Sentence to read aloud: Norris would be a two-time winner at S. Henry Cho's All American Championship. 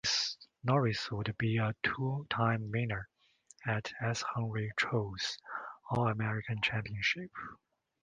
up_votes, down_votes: 2, 0